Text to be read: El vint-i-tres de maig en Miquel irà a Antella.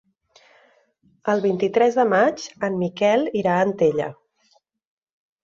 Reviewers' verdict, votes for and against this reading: accepted, 6, 0